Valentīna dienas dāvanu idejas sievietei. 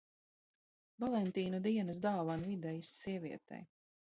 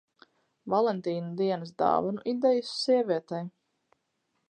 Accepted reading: second